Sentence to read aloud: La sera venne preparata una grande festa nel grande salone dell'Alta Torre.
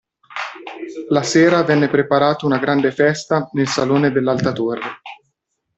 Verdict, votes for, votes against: rejected, 1, 2